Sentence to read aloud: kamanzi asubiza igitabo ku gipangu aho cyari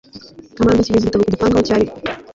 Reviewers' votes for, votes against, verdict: 1, 2, rejected